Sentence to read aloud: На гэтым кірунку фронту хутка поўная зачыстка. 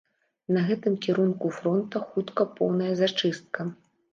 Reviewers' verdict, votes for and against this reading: rejected, 0, 2